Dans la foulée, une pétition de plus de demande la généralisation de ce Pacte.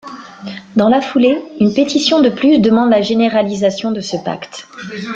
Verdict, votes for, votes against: rejected, 1, 2